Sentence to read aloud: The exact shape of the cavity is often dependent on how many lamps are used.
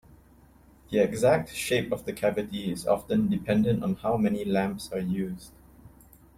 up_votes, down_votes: 2, 0